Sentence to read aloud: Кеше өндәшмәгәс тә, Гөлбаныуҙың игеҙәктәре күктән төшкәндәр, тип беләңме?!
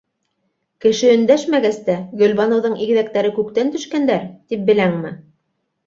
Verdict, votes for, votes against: accepted, 2, 0